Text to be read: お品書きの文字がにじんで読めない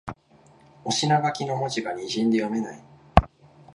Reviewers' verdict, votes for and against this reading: accepted, 25, 1